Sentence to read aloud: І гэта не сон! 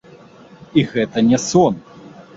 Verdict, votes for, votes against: accepted, 2, 0